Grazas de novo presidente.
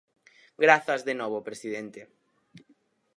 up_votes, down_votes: 4, 0